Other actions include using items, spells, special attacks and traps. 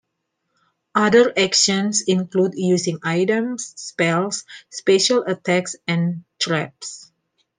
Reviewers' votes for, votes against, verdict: 2, 0, accepted